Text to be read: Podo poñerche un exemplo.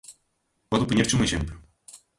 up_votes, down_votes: 2, 0